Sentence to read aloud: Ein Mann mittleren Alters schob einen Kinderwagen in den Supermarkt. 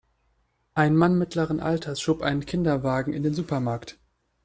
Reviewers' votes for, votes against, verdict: 2, 0, accepted